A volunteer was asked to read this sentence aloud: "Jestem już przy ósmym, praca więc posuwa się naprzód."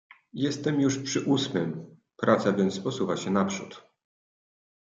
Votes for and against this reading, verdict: 2, 0, accepted